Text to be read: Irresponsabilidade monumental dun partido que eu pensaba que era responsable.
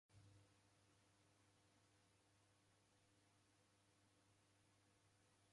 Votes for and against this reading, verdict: 0, 2, rejected